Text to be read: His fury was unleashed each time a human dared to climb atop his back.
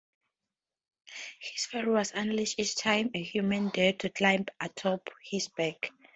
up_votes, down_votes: 0, 2